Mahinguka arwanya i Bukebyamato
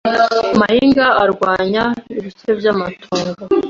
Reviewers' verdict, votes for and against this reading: accepted, 2, 1